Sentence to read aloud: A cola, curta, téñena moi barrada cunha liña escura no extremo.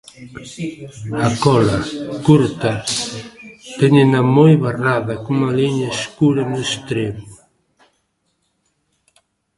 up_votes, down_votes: 1, 2